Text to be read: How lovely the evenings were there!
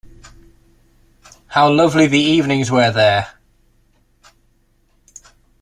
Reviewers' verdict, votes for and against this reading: accepted, 2, 0